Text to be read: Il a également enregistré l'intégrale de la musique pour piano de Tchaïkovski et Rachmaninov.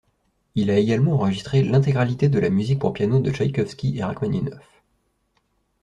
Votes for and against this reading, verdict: 1, 2, rejected